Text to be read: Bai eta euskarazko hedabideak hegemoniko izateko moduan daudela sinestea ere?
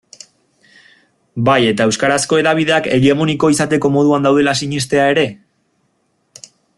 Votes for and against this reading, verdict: 2, 0, accepted